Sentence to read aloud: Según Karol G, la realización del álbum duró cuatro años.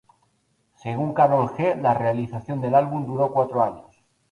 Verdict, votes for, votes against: accepted, 4, 0